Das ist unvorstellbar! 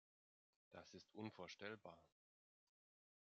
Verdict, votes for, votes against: accepted, 2, 1